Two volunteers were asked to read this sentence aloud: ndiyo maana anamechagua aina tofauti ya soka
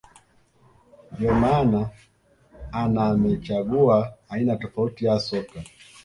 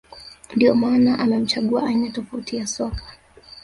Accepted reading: first